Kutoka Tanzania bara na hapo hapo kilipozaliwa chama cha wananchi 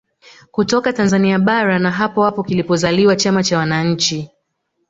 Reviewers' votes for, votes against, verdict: 4, 1, accepted